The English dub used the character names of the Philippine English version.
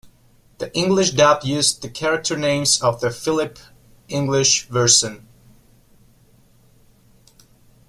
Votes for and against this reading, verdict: 1, 2, rejected